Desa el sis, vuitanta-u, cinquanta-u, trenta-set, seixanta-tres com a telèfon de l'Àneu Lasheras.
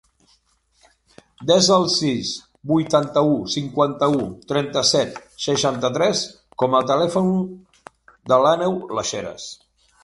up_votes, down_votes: 3, 0